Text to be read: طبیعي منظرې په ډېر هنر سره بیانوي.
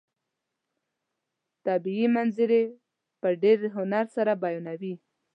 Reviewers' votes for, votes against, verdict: 2, 0, accepted